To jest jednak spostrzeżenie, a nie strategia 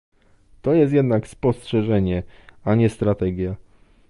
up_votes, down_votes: 2, 0